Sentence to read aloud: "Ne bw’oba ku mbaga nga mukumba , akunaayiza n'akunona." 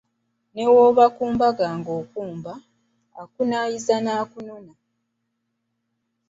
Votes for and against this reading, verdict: 2, 0, accepted